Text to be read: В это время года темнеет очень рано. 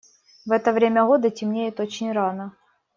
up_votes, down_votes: 2, 0